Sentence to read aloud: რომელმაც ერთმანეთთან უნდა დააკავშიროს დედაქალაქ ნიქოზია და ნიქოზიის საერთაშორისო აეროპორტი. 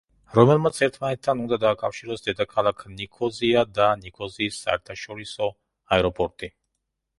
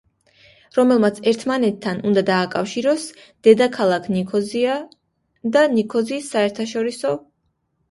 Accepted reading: first